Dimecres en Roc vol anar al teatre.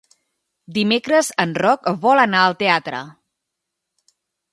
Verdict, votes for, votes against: accepted, 3, 0